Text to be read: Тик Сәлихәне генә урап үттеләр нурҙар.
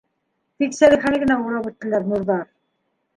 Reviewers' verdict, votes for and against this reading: accepted, 3, 1